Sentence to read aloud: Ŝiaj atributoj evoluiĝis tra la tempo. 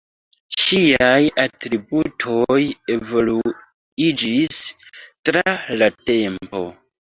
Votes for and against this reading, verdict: 2, 0, accepted